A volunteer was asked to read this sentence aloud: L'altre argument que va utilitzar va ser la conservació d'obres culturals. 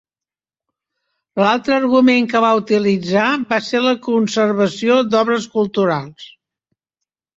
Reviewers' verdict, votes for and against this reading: accepted, 2, 0